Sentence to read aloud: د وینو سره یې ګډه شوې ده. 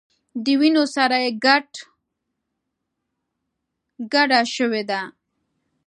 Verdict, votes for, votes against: rejected, 1, 2